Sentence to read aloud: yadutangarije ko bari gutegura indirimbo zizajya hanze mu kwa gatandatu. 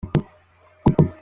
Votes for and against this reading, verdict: 0, 2, rejected